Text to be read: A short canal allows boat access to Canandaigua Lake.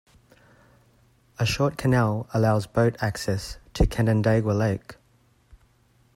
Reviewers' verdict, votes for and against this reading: accepted, 2, 0